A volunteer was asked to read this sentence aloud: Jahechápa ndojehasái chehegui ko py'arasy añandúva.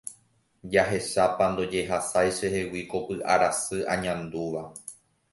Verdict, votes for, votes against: accepted, 2, 0